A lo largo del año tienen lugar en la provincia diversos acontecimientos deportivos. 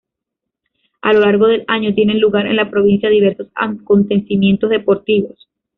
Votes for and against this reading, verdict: 0, 2, rejected